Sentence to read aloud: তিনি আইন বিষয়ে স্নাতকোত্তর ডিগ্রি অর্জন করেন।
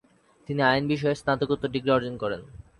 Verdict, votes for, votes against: accepted, 3, 0